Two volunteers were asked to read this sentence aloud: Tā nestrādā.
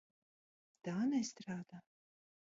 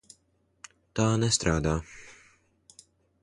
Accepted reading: second